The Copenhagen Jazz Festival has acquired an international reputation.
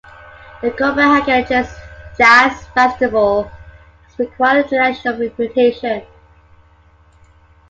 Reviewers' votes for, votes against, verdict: 2, 1, accepted